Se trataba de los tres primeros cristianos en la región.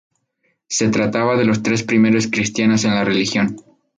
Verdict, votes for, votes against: rejected, 0, 2